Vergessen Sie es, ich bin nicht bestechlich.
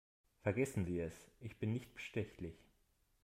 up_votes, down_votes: 2, 0